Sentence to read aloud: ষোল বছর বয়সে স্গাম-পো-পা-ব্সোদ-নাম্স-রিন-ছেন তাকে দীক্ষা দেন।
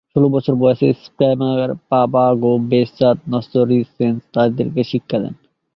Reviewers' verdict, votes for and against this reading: rejected, 1, 4